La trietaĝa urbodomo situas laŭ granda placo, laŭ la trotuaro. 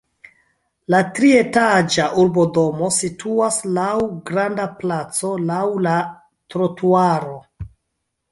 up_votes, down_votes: 2, 0